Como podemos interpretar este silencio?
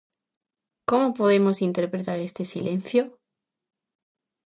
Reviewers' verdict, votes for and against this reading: accepted, 2, 0